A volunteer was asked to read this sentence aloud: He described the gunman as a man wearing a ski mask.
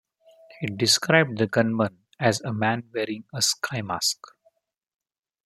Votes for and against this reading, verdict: 1, 2, rejected